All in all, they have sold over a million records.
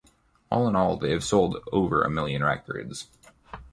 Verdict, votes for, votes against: accepted, 2, 0